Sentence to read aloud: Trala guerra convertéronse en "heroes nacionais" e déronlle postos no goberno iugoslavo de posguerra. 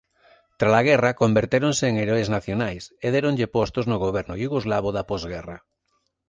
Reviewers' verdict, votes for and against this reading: rejected, 0, 2